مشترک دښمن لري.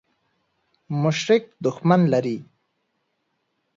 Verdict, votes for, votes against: rejected, 0, 2